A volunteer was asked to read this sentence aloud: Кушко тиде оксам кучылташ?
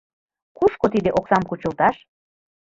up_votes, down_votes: 0, 2